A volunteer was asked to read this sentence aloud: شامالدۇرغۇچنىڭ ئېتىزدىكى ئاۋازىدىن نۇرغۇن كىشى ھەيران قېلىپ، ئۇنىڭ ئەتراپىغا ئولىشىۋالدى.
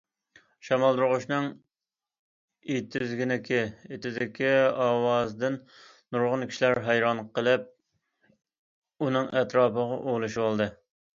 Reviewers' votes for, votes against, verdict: 0, 2, rejected